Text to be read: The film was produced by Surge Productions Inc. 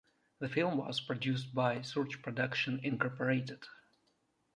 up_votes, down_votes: 2, 1